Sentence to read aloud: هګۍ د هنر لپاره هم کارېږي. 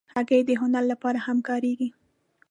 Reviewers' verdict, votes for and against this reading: accepted, 3, 0